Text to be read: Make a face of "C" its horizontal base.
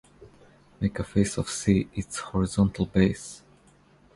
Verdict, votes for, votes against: accepted, 2, 0